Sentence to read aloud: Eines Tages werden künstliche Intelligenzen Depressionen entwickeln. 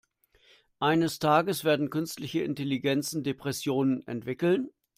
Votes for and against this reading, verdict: 2, 1, accepted